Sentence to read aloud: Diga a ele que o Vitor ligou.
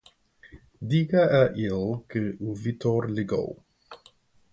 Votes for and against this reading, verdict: 0, 2, rejected